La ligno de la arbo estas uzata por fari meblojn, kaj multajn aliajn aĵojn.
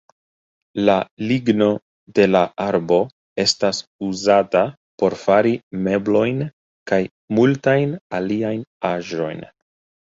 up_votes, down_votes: 0, 2